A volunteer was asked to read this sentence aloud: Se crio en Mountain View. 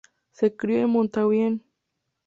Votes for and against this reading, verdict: 2, 0, accepted